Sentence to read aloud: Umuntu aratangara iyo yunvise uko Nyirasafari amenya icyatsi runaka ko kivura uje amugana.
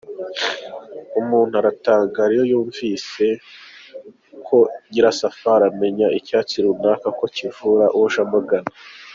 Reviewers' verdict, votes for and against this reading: accepted, 3, 1